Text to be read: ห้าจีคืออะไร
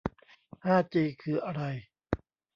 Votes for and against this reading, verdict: 2, 0, accepted